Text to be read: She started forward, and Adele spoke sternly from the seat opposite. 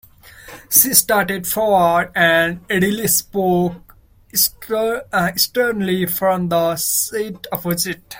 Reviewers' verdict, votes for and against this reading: rejected, 0, 2